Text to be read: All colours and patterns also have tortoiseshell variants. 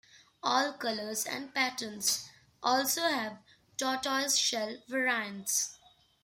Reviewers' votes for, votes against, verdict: 2, 0, accepted